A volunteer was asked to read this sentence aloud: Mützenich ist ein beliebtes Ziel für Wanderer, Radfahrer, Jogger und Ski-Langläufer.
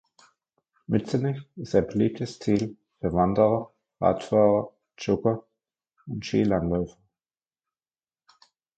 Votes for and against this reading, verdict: 1, 2, rejected